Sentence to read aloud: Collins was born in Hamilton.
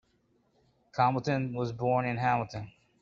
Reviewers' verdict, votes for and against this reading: rejected, 0, 2